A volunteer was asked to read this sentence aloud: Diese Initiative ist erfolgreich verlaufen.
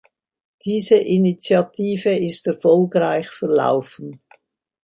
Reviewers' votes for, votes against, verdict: 2, 0, accepted